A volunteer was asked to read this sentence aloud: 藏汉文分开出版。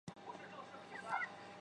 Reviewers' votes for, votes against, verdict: 0, 2, rejected